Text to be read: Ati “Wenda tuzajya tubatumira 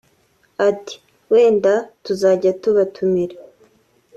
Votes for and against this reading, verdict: 2, 0, accepted